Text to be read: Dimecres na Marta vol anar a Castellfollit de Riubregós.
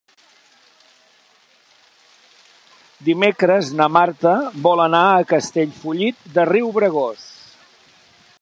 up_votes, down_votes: 0, 2